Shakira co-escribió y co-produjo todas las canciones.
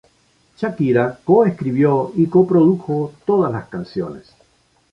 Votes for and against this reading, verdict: 0, 2, rejected